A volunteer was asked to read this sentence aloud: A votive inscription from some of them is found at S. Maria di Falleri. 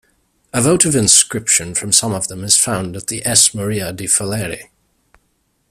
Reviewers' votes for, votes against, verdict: 0, 2, rejected